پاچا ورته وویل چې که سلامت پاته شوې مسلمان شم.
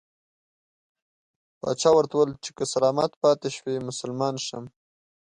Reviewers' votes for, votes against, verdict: 3, 0, accepted